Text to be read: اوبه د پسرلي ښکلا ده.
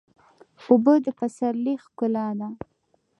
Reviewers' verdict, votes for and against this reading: rejected, 1, 2